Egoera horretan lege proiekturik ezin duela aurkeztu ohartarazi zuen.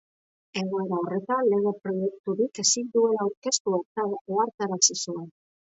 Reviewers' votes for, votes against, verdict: 0, 2, rejected